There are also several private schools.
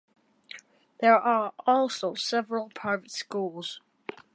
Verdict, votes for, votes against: accepted, 2, 1